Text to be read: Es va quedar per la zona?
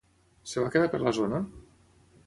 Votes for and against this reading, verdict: 3, 6, rejected